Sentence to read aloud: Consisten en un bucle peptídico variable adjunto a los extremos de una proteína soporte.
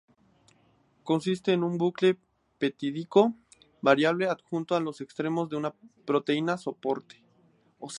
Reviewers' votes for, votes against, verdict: 0, 2, rejected